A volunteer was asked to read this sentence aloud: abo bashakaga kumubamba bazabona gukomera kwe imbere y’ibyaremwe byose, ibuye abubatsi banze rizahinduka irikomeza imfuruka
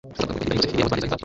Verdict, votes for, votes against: rejected, 1, 2